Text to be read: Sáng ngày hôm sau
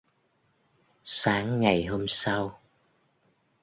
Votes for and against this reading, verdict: 1, 2, rejected